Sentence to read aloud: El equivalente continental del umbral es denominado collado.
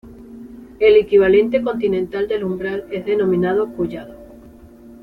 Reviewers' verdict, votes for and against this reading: accepted, 2, 0